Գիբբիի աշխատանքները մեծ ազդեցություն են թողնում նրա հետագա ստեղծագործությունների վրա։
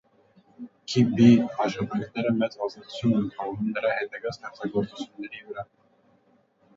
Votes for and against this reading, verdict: 0, 2, rejected